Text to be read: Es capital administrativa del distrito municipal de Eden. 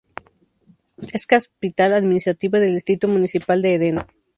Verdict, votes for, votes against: rejected, 0, 2